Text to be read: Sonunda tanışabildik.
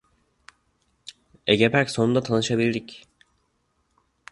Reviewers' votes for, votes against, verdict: 0, 2, rejected